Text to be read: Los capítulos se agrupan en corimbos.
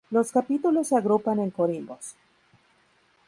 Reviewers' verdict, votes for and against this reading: rejected, 0, 2